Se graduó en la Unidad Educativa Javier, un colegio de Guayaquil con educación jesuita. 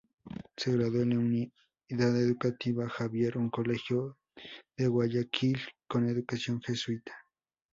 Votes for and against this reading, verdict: 2, 0, accepted